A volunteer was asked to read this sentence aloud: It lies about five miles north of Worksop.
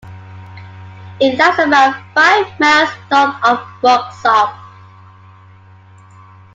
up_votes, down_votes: 1, 2